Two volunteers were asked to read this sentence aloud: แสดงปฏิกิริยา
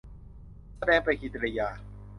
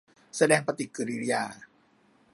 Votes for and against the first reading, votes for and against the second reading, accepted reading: 0, 2, 2, 0, second